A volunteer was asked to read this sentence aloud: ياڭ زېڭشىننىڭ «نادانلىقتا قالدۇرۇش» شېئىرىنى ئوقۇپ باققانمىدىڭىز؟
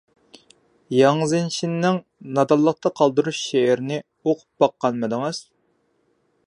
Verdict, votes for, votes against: accepted, 2, 1